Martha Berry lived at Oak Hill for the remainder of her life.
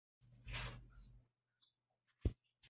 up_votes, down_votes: 0, 2